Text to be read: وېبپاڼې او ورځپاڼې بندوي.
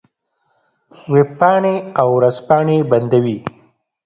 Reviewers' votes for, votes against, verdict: 2, 0, accepted